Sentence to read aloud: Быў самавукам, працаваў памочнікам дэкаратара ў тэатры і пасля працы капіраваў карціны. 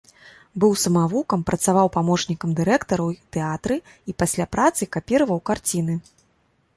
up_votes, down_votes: 1, 2